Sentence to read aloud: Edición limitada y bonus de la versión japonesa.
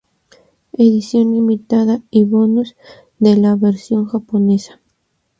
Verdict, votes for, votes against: accepted, 2, 0